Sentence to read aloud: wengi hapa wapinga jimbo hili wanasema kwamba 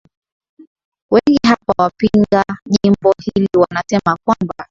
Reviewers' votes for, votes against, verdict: 3, 0, accepted